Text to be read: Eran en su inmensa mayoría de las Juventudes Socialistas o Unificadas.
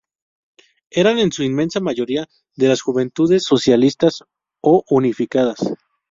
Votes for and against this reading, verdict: 0, 2, rejected